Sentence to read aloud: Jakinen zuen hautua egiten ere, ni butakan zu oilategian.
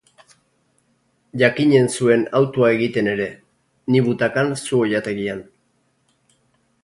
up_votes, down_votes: 2, 0